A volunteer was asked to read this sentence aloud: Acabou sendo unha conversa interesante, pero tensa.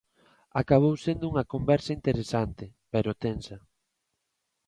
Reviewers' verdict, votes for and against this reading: accepted, 2, 0